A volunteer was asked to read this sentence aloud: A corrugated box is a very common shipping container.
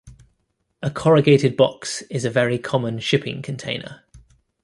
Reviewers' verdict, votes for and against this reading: accepted, 3, 0